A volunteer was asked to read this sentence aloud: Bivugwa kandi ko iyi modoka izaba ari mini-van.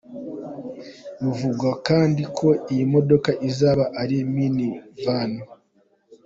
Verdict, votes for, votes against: accepted, 3, 0